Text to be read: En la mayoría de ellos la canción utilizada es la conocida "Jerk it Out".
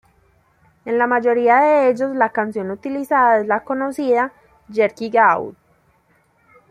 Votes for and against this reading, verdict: 1, 2, rejected